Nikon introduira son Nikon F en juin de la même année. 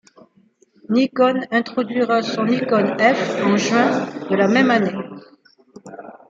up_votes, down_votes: 2, 0